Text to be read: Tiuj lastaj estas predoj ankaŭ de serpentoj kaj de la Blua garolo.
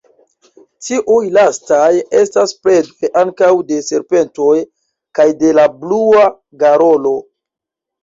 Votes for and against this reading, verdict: 1, 2, rejected